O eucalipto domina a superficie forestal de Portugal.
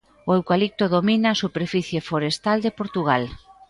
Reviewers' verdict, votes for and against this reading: rejected, 1, 2